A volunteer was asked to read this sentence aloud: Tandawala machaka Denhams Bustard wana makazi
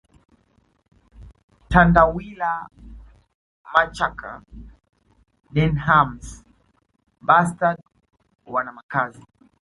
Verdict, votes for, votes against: rejected, 1, 2